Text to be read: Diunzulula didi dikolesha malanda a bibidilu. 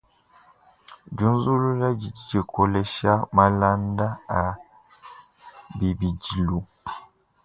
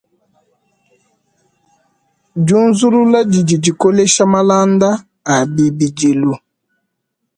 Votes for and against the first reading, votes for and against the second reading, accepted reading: 2, 3, 2, 0, second